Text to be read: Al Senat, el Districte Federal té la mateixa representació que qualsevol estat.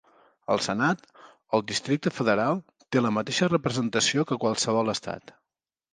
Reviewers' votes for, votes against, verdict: 4, 0, accepted